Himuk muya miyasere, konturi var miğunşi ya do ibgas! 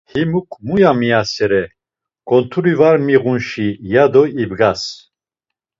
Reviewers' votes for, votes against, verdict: 2, 0, accepted